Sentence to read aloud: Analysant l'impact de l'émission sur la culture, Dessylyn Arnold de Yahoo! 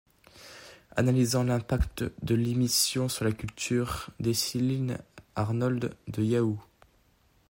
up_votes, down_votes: 2, 0